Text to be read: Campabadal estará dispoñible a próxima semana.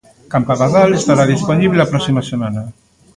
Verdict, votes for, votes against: accepted, 2, 1